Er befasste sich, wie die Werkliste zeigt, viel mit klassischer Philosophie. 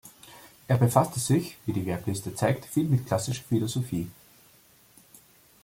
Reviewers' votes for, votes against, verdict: 2, 0, accepted